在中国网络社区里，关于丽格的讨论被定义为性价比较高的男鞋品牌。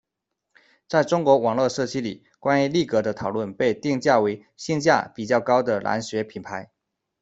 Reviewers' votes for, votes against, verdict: 0, 2, rejected